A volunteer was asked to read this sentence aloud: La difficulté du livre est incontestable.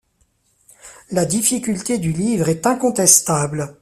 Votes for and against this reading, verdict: 2, 0, accepted